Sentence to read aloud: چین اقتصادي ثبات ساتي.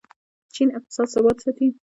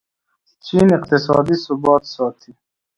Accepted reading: second